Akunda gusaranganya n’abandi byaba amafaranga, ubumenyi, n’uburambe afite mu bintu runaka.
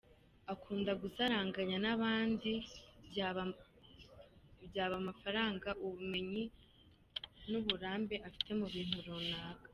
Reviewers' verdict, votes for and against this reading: rejected, 0, 3